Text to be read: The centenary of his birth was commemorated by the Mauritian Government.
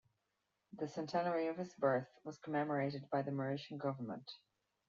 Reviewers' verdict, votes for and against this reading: accepted, 2, 1